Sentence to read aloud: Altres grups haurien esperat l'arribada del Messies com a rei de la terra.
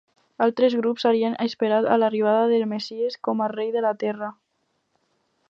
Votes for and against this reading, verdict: 2, 2, rejected